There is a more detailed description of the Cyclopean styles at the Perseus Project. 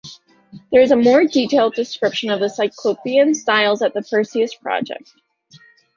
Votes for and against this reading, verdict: 2, 0, accepted